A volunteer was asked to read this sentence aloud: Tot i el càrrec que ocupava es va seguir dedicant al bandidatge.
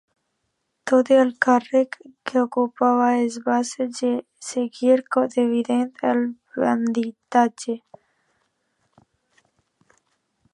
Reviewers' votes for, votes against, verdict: 0, 2, rejected